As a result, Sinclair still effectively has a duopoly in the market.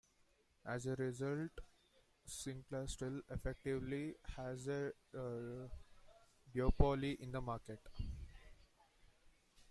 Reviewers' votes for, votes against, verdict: 0, 2, rejected